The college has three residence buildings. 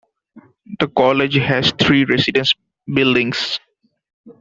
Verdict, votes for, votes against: accepted, 2, 0